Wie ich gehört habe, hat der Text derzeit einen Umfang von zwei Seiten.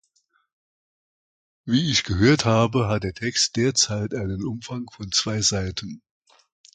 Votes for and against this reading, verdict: 2, 0, accepted